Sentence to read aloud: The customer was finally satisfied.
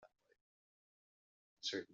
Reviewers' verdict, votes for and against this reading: rejected, 0, 2